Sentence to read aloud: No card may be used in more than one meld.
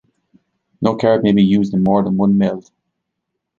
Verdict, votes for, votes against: rejected, 1, 2